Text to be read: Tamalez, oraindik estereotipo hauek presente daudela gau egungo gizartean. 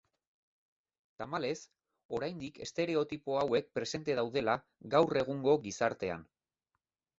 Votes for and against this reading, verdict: 2, 1, accepted